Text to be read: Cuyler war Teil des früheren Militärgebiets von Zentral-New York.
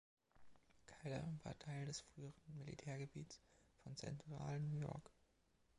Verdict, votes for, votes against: rejected, 1, 2